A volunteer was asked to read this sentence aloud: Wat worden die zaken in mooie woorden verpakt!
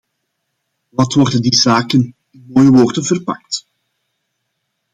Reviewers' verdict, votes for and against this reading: rejected, 1, 2